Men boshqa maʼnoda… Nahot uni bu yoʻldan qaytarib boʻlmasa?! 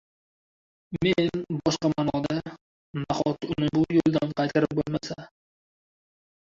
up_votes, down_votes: 0, 2